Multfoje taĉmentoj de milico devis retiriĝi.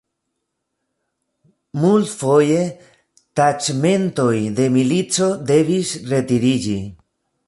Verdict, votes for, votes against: rejected, 0, 2